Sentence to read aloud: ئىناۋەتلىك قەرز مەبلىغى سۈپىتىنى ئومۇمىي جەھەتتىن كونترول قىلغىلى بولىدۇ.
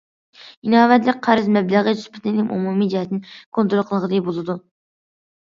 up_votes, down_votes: 2, 1